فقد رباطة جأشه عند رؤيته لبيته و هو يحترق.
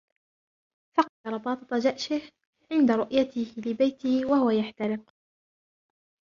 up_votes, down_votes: 2, 0